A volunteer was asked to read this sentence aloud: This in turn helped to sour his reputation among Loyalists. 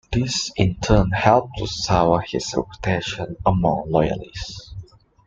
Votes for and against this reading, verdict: 2, 0, accepted